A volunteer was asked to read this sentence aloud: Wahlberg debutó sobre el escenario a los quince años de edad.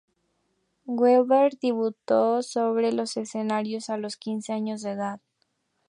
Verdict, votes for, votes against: rejected, 2, 4